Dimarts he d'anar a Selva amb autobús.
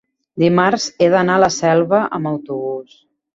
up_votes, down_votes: 1, 2